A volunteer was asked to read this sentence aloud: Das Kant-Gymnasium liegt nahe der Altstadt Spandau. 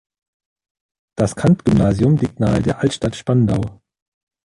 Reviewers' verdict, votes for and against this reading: rejected, 1, 2